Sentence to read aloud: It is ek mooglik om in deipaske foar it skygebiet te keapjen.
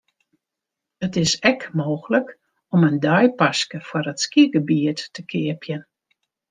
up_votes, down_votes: 2, 0